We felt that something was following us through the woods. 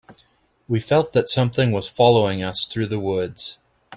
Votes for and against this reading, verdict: 2, 0, accepted